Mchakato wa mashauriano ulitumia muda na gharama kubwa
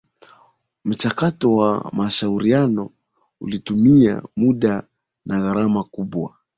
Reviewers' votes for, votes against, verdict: 2, 0, accepted